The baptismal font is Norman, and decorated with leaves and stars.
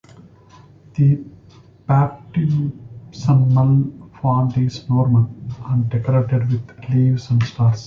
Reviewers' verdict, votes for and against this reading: rejected, 1, 2